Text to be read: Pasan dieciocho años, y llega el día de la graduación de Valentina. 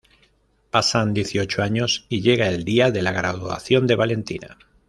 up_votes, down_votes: 2, 0